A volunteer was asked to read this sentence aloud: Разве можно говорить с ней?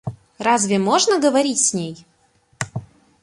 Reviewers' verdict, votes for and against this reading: accepted, 2, 0